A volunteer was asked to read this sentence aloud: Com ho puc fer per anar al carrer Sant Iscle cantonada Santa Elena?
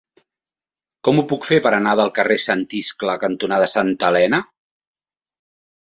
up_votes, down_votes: 1, 2